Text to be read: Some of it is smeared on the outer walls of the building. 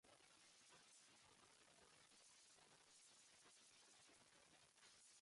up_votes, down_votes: 0, 2